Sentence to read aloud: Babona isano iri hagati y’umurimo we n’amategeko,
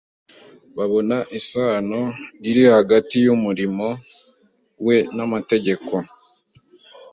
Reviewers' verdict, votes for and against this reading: accepted, 2, 0